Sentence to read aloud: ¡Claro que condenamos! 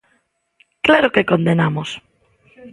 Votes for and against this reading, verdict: 2, 0, accepted